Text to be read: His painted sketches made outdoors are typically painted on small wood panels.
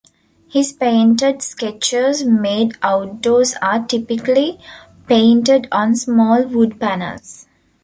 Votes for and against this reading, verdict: 2, 0, accepted